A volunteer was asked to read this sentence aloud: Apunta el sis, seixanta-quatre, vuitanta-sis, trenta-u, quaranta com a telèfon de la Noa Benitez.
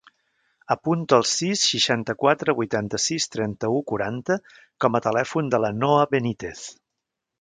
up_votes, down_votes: 4, 0